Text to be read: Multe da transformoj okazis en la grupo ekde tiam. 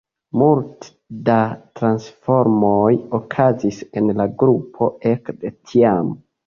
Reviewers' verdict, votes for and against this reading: accepted, 2, 0